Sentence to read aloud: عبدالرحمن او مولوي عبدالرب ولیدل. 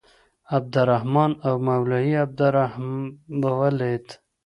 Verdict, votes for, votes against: rejected, 0, 2